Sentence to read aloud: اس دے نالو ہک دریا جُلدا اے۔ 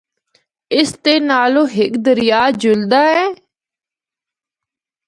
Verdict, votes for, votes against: accepted, 2, 0